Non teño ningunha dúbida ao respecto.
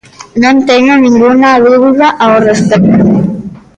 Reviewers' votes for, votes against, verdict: 0, 2, rejected